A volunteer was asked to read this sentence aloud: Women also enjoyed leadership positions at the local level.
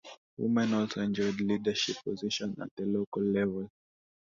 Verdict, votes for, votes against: rejected, 1, 2